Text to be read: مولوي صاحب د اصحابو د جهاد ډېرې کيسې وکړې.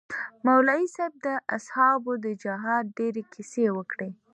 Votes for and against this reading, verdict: 2, 0, accepted